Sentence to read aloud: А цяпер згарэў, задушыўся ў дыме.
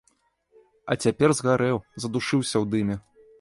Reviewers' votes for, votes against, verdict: 2, 0, accepted